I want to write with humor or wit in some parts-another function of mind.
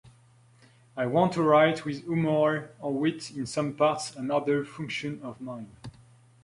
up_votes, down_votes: 0, 2